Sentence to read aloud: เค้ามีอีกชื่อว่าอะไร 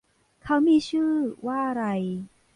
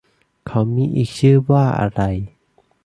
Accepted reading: second